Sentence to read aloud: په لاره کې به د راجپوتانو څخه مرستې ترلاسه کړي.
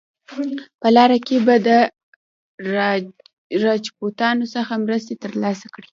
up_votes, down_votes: 0, 2